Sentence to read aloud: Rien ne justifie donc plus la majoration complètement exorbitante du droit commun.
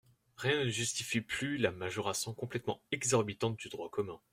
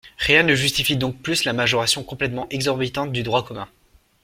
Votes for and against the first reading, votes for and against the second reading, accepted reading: 0, 2, 2, 0, second